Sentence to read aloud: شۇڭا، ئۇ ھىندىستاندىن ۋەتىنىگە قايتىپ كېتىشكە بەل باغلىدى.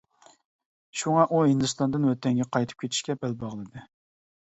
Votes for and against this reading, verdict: 0, 2, rejected